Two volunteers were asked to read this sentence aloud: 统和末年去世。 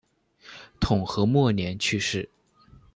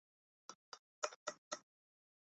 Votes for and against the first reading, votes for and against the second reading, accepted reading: 2, 0, 0, 2, first